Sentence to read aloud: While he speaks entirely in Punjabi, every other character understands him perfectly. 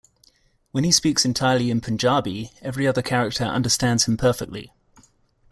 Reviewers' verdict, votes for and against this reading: rejected, 0, 2